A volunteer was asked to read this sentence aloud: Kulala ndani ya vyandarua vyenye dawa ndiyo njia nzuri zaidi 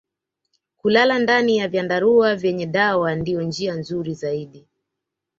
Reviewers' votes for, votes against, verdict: 2, 1, accepted